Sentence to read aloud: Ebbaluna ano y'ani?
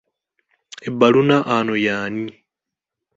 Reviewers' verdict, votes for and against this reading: accepted, 2, 0